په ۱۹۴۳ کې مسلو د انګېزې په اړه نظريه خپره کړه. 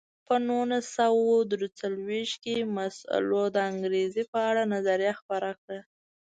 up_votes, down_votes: 0, 2